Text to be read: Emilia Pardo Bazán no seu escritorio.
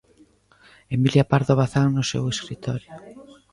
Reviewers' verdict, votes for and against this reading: rejected, 1, 2